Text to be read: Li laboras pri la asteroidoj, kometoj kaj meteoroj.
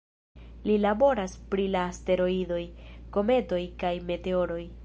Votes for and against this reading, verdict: 2, 1, accepted